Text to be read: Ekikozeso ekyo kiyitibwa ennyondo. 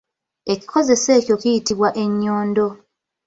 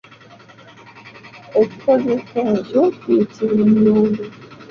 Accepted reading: first